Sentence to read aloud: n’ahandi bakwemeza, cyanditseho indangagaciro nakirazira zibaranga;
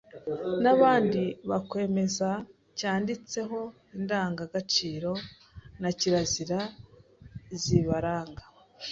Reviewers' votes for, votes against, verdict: 1, 2, rejected